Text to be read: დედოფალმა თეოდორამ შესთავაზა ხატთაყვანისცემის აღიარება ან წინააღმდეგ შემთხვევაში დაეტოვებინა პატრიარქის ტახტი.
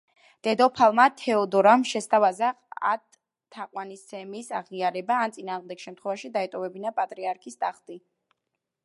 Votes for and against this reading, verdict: 1, 2, rejected